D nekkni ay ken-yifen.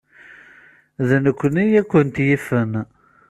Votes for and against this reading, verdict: 0, 2, rejected